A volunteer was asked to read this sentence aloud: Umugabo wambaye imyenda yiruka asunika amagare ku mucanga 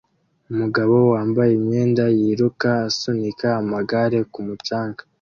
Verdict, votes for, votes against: accepted, 2, 0